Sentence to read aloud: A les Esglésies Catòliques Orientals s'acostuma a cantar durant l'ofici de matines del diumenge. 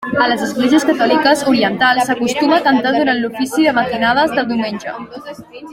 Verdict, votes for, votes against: rejected, 1, 2